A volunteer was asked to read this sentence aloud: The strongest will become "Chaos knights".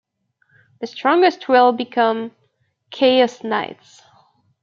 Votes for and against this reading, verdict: 1, 2, rejected